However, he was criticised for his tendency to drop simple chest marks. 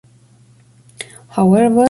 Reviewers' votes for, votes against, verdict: 0, 2, rejected